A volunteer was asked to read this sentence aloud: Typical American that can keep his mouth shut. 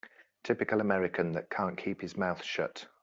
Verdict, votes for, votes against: rejected, 1, 2